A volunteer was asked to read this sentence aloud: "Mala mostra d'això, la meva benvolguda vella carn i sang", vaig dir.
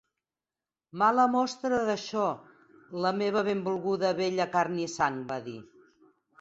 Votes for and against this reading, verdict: 4, 6, rejected